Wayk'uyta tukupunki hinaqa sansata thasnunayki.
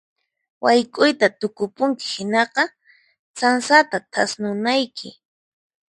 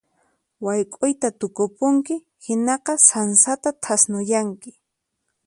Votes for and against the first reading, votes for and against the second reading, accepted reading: 4, 0, 0, 4, first